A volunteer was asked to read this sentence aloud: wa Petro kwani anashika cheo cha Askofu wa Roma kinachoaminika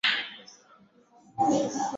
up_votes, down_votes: 0, 2